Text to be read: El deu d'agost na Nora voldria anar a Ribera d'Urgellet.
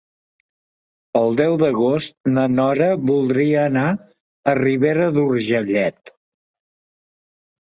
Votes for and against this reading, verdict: 2, 1, accepted